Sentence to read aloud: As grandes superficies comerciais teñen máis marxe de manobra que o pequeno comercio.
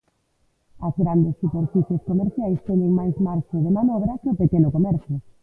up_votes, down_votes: 0, 2